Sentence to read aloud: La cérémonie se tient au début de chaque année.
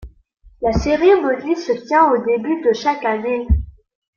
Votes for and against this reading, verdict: 2, 1, accepted